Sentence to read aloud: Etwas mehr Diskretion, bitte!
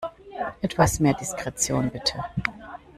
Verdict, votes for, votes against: accepted, 2, 1